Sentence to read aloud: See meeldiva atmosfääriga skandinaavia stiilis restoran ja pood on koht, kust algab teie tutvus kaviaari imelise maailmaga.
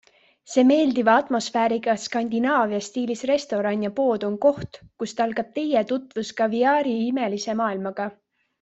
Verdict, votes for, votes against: accepted, 2, 1